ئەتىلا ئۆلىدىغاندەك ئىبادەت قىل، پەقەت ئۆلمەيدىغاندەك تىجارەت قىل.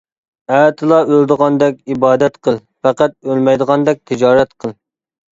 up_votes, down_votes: 2, 0